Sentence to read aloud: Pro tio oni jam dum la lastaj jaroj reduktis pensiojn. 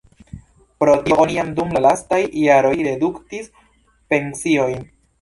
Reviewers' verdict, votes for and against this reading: accepted, 2, 1